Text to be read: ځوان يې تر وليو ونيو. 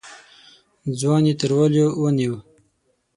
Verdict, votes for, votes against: accepted, 9, 3